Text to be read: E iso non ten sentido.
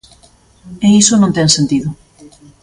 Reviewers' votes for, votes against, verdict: 2, 0, accepted